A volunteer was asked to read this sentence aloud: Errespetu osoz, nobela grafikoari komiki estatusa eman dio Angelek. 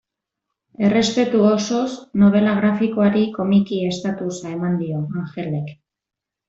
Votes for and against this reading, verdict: 2, 0, accepted